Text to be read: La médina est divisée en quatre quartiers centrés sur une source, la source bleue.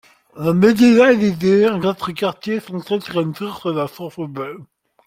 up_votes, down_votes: 0, 2